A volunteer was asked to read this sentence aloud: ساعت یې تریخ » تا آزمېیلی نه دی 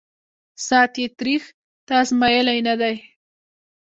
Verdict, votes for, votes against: accepted, 2, 0